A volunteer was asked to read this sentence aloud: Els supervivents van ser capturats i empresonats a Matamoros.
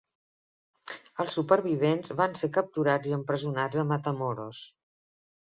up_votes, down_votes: 3, 0